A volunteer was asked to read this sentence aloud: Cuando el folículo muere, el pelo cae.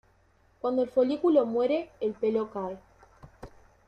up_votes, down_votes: 2, 0